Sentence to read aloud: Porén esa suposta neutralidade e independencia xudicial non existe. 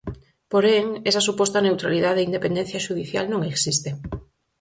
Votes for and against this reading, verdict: 4, 0, accepted